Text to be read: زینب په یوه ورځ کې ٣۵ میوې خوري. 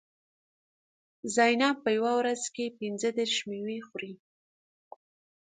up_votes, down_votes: 0, 2